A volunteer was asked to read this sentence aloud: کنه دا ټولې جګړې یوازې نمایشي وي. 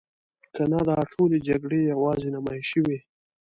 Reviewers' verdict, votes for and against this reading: accepted, 2, 1